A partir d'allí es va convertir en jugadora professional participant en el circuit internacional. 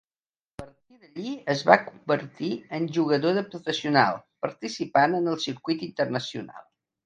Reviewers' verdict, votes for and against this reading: rejected, 0, 2